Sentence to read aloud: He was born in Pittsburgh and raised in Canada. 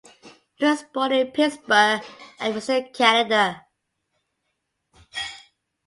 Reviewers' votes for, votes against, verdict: 1, 2, rejected